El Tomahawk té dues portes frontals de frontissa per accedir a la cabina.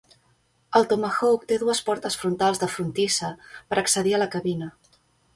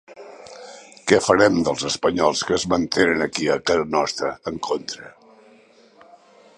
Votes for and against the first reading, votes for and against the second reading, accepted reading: 2, 0, 1, 2, first